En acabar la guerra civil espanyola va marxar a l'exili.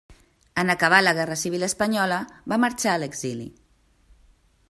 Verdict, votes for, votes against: accepted, 3, 0